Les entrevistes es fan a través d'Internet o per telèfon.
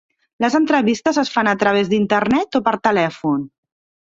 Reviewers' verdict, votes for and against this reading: rejected, 1, 2